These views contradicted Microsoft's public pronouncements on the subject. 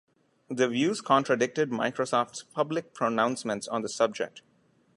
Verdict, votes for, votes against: accepted, 2, 0